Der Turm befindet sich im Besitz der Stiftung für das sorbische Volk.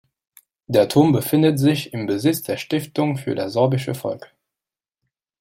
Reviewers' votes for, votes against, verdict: 2, 0, accepted